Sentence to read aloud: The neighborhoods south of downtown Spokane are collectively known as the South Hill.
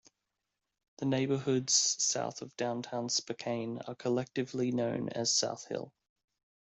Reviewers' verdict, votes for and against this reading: rejected, 1, 2